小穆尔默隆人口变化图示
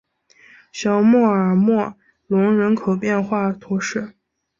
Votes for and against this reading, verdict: 3, 0, accepted